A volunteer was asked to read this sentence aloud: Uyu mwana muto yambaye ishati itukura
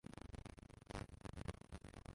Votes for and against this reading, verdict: 0, 2, rejected